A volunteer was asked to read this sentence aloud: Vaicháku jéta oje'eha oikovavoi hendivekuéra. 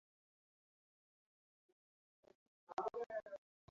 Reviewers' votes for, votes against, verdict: 0, 2, rejected